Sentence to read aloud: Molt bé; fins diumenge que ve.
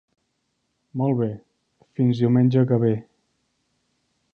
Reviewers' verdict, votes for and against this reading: accepted, 3, 0